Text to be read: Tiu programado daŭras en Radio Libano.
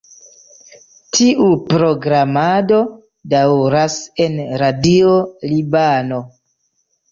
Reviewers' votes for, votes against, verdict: 2, 0, accepted